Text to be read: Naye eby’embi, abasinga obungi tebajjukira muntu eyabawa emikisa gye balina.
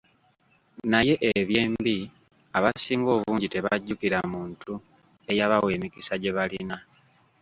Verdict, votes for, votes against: rejected, 0, 3